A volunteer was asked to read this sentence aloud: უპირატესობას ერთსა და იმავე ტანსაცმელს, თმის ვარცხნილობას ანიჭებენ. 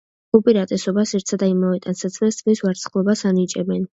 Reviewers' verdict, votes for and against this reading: accepted, 2, 0